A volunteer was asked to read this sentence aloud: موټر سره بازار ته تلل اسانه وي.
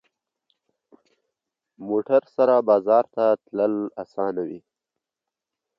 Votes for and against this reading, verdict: 3, 0, accepted